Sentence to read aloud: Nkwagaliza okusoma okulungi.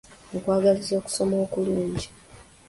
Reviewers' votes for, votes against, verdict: 2, 0, accepted